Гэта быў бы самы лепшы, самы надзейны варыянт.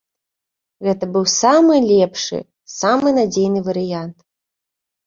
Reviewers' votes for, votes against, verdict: 0, 2, rejected